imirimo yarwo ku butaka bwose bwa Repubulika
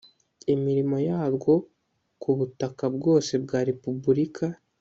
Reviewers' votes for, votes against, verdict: 2, 0, accepted